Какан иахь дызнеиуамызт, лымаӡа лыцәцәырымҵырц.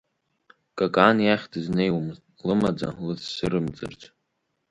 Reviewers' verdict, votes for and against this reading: accepted, 4, 1